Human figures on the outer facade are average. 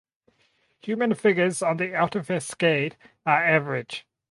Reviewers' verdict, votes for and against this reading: rejected, 2, 4